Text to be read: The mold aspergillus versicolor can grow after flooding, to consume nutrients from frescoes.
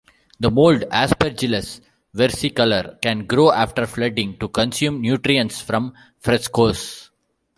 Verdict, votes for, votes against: accepted, 2, 0